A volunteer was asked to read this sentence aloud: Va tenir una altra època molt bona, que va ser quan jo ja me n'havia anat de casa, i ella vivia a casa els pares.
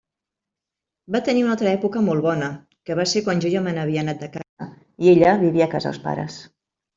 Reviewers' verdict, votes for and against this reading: rejected, 1, 2